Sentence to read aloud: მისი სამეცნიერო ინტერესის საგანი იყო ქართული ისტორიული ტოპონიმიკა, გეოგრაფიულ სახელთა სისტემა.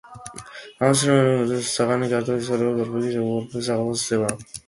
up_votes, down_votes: 0, 2